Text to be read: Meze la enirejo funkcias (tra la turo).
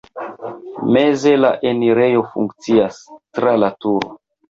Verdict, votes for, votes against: accepted, 2, 1